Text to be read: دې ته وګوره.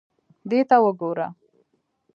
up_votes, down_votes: 2, 0